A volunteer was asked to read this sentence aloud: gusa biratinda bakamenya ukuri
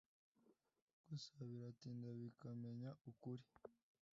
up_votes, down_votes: 1, 2